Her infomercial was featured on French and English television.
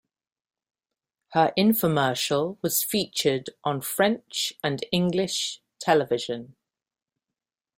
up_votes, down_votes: 2, 0